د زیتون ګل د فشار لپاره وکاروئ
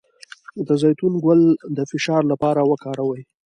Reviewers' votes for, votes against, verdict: 2, 1, accepted